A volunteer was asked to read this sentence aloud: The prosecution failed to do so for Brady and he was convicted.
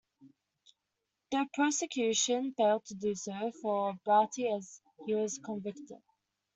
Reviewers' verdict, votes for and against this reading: rejected, 0, 2